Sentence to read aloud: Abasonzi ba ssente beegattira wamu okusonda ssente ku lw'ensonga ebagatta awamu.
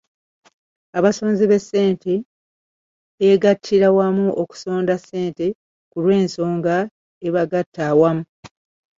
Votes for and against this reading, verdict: 2, 0, accepted